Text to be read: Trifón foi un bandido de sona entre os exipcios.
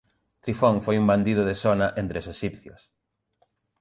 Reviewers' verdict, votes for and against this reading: rejected, 0, 2